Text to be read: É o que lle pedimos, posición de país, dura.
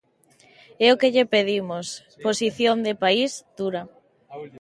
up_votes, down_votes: 2, 0